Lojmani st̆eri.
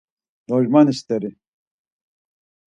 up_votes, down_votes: 4, 0